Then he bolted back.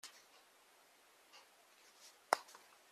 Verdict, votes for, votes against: rejected, 0, 2